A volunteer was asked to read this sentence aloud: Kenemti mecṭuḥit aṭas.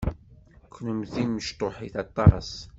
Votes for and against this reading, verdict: 2, 0, accepted